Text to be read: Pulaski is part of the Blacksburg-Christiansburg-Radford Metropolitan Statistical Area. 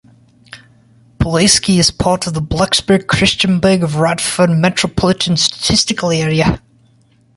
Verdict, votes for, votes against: rejected, 0, 2